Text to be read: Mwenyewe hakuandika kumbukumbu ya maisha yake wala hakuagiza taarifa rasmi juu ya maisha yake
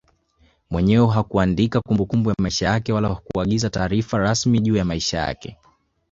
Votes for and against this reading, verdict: 3, 1, accepted